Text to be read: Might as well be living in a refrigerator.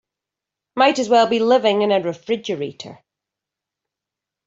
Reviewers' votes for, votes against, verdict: 3, 0, accepted